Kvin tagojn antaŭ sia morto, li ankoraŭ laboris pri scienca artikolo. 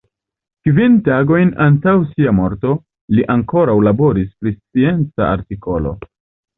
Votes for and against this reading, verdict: 1, 2, rejected